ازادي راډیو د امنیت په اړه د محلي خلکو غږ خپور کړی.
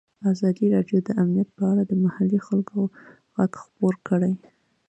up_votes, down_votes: 2, 1